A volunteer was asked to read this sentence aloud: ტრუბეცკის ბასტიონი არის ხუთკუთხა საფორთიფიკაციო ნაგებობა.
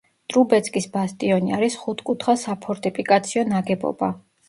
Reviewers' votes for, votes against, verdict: 2, 0, accepted